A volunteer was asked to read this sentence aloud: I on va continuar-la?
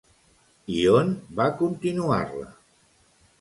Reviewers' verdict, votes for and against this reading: accepted, 2, 0